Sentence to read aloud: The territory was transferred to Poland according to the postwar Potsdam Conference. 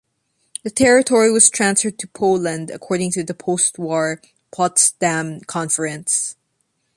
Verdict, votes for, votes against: accepted, 5, 0